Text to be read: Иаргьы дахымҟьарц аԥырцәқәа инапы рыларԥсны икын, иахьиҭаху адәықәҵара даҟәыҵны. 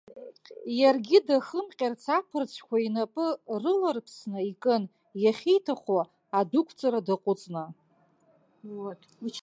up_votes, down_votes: 0, 2